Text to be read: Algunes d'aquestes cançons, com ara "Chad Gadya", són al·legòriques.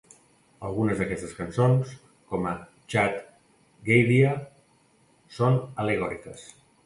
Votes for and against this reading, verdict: 1, 2, rejected